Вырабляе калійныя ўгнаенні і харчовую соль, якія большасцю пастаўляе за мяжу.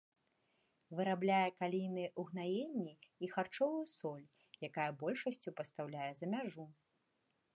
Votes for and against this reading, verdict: 1, 2, rejected